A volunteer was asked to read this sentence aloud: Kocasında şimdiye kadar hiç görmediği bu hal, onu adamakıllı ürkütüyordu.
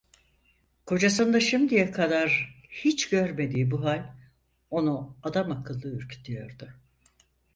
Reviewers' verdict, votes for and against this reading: accepted, 4, 0